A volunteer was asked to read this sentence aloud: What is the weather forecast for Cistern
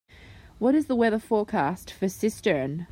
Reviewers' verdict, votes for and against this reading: accepted, 2, 0